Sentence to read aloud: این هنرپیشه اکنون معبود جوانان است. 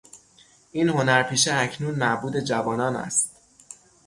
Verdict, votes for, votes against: rejected, 3, 3